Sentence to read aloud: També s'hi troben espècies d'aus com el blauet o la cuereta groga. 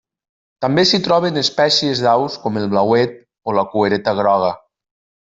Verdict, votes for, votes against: rejected, 1, 2